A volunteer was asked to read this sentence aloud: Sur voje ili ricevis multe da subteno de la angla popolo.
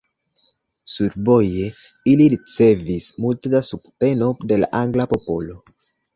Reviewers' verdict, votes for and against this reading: accepted, 2, 0